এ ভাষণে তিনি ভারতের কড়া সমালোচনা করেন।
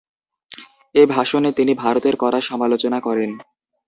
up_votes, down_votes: 0, 2